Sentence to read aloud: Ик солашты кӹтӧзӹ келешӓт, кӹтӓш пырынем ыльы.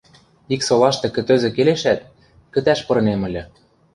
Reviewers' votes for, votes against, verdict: 2, 0, accepted